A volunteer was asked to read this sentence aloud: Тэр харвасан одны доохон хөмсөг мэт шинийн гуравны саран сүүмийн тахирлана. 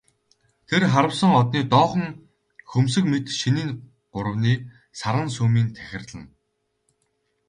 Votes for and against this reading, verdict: 2, 2, rejected